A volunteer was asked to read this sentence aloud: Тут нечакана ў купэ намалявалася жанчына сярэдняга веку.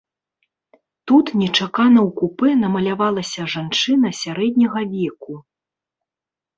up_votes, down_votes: 2, 0